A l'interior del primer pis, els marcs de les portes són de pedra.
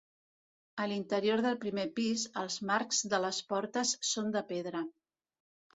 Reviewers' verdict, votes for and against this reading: accepted, 2, 1